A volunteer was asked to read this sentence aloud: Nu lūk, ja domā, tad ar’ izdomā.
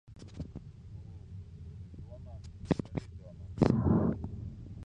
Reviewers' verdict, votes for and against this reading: rejected, 0, 2